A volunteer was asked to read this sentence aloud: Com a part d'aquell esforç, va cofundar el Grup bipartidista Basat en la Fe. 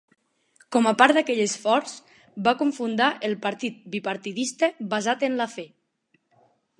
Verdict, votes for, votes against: rejected, 1, 2